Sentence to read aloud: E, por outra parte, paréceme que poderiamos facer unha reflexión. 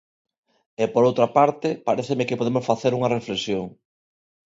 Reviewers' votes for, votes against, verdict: 0, 2, rejected